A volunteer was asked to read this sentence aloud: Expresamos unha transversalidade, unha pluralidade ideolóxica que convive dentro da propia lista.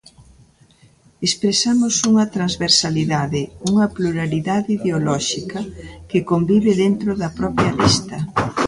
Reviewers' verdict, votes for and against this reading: rejected, 1, 2